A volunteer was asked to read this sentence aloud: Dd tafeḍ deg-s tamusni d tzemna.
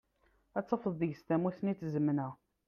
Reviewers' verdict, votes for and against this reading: accepted, 2, 0